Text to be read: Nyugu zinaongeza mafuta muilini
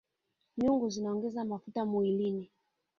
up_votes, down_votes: 4, 1